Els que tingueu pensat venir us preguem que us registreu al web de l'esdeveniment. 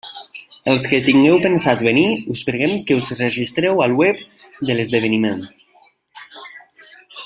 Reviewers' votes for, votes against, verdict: 3, 1, accepted